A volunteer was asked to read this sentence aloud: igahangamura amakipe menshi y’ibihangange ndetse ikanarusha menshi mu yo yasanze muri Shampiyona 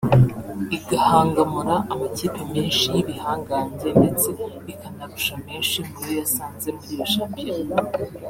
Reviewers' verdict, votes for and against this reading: rejected, 1, 2